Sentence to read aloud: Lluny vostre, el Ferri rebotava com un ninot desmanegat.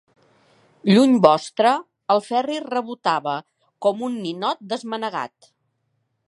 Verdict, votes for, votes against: accepted, 4, 0